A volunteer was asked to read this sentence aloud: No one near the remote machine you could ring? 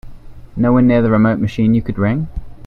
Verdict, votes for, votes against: accepted, 2, 0